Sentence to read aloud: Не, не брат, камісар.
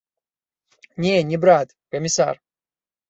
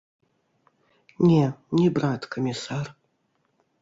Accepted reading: first